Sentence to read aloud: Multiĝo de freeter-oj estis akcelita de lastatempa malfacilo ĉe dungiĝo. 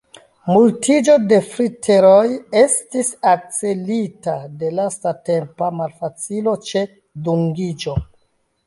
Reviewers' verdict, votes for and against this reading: rejected, 0, 2